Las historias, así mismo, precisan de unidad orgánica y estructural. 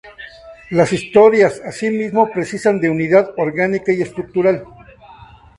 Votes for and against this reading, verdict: 0, 4, rejected